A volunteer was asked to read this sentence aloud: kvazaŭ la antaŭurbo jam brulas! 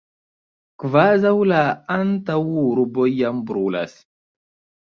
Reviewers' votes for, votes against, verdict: 2, 0, accepted